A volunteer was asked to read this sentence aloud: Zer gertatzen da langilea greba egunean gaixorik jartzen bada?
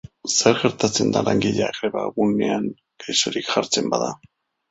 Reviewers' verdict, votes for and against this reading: accepted, 2, 0